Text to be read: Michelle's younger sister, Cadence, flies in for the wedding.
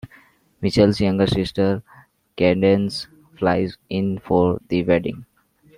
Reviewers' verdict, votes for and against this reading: rejected, 0, 2